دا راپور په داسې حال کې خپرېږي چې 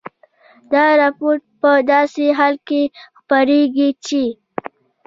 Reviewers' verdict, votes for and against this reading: accepted, 2, 0